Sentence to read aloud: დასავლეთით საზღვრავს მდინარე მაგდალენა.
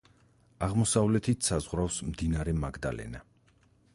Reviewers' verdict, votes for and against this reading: rejected, 2, 4